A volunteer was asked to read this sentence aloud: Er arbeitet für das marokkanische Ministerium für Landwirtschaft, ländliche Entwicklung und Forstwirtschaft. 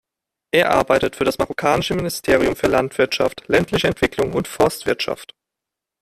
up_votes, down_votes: 1, 2